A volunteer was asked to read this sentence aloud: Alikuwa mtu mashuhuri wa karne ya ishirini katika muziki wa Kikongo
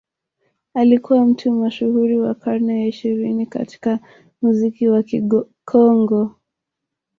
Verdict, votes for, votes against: rejected, 1, 2